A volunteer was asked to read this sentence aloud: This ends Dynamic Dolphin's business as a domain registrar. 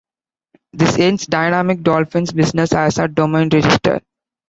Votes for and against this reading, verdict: 1, 2, rejected